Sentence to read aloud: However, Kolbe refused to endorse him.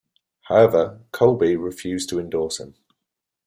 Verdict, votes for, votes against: accepted, 2, 0